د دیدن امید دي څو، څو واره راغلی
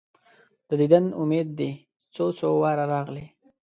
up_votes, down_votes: 2, 0